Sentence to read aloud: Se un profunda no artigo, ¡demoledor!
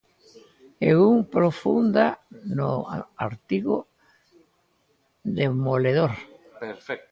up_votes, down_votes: 1, 2